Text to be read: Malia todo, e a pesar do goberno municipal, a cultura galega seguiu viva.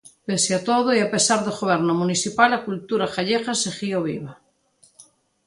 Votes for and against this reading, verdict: 0, 3, rejected